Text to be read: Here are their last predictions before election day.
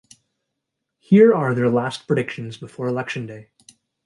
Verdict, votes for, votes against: accepted, 3, 0